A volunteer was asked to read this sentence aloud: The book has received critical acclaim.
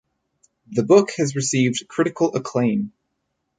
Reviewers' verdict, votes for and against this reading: accepted, 4, 0